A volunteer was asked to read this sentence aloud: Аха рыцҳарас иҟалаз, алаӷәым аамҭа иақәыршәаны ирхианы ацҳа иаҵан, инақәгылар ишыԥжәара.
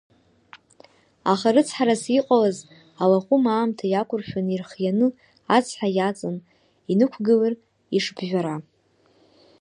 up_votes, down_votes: 1, 2